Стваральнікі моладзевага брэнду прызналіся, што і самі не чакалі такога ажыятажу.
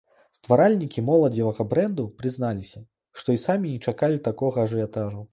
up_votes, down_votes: 2, 0